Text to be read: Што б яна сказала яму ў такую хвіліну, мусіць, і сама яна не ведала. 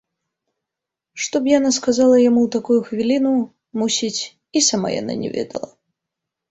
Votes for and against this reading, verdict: 2, 0, accepted